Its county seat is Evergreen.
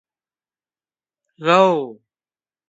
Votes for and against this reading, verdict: 0, 2, rejected